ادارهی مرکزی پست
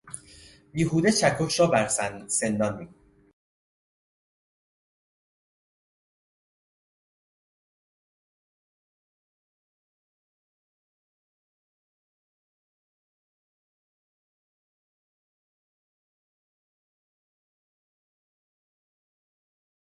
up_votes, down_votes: 0, 2